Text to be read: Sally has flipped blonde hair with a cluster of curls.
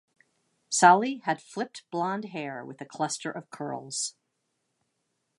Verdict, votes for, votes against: rejected, 1, 2